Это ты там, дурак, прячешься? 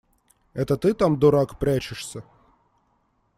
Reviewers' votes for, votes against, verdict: 2, 0, accepted